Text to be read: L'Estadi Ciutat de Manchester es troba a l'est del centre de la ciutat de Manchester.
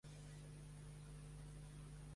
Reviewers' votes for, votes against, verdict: 0, 2, rejected